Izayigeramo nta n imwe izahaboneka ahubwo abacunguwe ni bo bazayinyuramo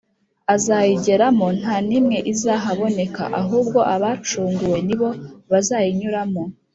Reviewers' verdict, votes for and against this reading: rejected, 0, 2